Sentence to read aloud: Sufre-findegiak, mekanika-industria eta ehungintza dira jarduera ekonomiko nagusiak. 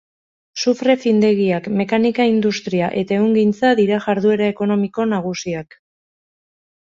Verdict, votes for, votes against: accepted, 4, 0